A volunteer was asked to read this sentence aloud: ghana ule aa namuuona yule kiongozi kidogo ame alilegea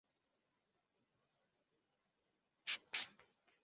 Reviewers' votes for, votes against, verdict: 0, 2, rejected